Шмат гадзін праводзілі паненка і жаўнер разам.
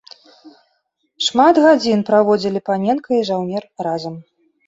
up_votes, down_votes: 2, 0